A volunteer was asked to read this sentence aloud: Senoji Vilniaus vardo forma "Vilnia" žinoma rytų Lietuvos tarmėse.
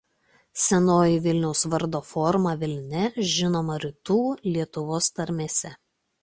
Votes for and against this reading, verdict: 2, 0, accepted